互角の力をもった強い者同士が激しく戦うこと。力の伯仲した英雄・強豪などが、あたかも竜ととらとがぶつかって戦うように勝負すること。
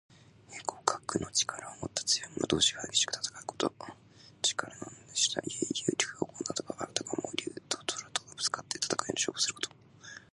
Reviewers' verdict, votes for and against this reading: accepted, 2, 0